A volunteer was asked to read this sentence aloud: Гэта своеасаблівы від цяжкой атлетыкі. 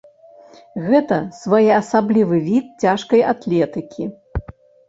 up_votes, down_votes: 1, 2